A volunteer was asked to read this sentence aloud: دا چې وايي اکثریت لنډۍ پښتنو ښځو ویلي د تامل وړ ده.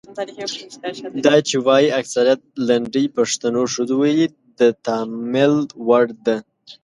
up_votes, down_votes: 1, 2